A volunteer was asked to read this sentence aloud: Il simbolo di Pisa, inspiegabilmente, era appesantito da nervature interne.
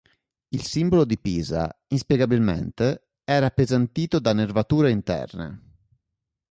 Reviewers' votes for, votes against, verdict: 3, 0, accepted